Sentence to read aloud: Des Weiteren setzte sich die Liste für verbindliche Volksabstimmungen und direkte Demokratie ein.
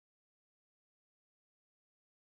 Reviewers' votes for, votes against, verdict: 0, 2, rejected